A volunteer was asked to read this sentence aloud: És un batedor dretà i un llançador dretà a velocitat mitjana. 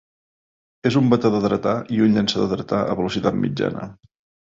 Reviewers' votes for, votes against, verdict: 2, 0, accepted